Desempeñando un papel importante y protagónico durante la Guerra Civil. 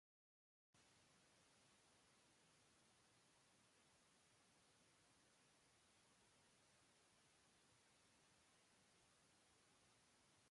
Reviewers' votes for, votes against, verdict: 0, 2, rejected